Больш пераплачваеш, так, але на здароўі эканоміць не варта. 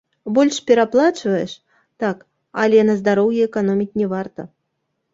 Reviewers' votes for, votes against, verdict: 0, 2, rejected